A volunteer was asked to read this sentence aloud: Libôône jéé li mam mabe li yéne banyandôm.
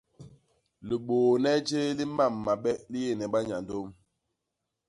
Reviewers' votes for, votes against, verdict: 0, 2, rejected